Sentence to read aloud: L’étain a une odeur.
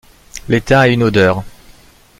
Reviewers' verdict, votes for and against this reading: accepted, 2, 0